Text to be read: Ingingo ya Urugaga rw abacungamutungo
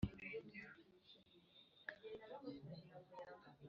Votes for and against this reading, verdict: 1, 2, rejected